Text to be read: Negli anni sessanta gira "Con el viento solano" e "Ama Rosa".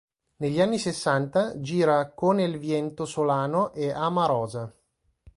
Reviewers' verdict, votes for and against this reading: accepted, 2, 0